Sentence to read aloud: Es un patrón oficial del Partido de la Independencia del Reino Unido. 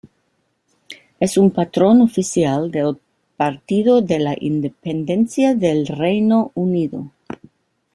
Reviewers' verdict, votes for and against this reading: rejected, 0, 2